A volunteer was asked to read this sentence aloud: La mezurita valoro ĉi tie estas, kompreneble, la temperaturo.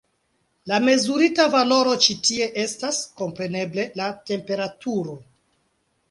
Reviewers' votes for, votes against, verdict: 2, 0, accepted